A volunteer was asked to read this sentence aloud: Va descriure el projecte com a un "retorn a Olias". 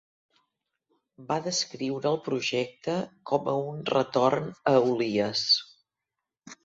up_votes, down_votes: 2, 0